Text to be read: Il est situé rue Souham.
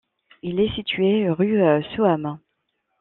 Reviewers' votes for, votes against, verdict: 2, 1, accepted